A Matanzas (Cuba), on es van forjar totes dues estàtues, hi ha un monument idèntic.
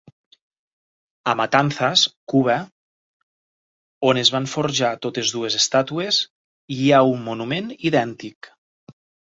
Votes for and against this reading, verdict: 4, 0, accepted